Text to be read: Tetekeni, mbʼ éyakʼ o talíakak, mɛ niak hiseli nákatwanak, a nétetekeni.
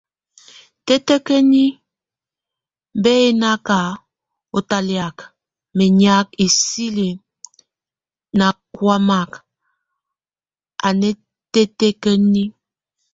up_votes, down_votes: 0, 2